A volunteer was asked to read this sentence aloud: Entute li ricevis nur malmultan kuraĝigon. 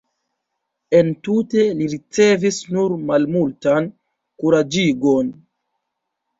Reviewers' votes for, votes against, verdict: 2, 0, accepted